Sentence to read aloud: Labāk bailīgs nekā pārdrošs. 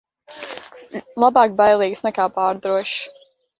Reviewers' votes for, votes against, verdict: 1, 2, rejected